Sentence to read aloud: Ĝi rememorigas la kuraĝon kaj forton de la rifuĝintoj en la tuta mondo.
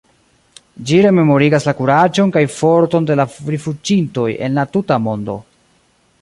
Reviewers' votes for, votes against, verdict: 0, 2, rejected